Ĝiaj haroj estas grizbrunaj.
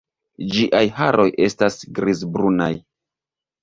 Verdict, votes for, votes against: accepted, 2, 0